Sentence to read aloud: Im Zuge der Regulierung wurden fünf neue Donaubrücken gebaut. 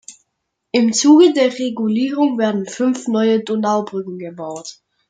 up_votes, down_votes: 0, 2